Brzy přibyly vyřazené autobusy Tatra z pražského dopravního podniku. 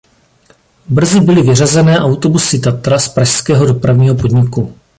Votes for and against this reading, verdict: 0, 2, rejected